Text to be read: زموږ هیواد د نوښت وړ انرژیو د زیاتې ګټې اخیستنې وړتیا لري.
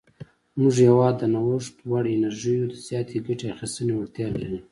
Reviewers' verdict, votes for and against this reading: accepted, 2, 0